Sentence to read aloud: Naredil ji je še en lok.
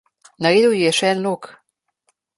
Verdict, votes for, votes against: accepted, 2, 0